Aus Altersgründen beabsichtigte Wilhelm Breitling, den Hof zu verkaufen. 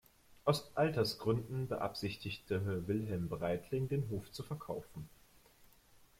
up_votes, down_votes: 2, 1